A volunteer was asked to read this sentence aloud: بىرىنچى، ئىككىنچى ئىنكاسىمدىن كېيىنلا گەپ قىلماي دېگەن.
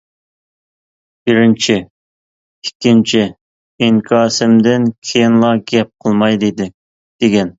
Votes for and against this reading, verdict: 1, 2, rejected